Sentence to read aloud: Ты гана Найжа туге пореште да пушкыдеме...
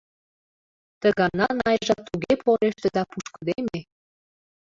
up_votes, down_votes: 0, 2